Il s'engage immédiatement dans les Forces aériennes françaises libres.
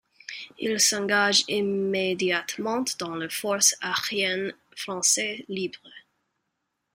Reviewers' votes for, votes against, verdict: 1, 2, rejected